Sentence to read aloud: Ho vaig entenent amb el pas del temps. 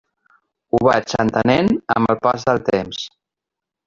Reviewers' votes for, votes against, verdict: 1, 2, rejected